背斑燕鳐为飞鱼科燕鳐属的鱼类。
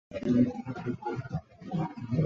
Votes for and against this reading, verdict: 0, 2, rejected